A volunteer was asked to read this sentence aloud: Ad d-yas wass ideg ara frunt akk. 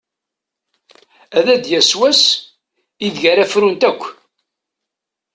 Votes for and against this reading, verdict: 2, 1, accepted